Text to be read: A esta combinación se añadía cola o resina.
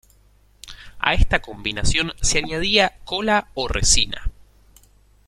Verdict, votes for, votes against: accepted, 2, 0